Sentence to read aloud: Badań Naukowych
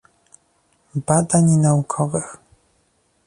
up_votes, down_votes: 2, 0